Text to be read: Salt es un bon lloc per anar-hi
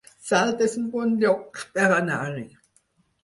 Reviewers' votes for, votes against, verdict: 4, 0, accepted